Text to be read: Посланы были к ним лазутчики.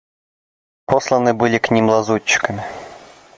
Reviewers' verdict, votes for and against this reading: rejected, 0, 2